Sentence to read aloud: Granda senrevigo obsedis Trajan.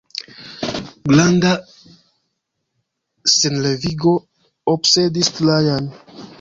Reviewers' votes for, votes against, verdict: 1, 2, rejected